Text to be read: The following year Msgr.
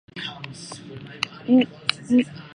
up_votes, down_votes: 0, 2